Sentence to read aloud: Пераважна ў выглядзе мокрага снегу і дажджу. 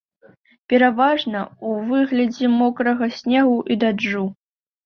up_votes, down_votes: 0, 2